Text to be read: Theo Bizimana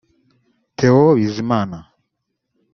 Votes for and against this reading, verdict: 1, 2, rejected